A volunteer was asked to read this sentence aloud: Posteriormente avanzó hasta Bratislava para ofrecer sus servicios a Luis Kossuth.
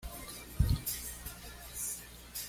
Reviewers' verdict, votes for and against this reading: rejected, 1, 2